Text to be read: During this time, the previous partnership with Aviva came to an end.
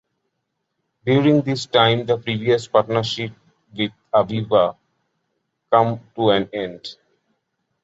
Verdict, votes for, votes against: rejected, 1, 2